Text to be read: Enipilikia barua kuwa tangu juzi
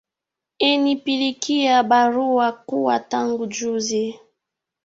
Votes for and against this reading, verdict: 2, 1, accepted